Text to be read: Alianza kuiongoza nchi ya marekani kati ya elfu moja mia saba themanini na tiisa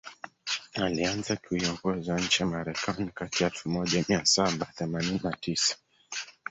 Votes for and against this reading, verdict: 0, 2, rejected